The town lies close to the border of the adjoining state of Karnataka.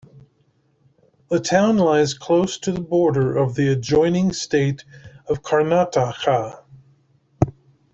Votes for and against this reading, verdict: 2, 1, accepted